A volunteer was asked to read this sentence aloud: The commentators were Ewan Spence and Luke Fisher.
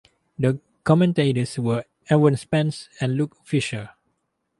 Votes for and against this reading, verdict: 4, 0, accepted